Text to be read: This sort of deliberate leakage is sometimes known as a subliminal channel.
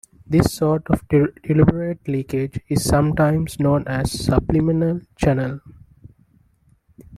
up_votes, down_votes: 2, 1